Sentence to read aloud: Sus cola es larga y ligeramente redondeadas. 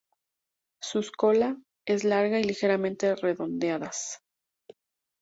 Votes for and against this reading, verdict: 2, 0, accepted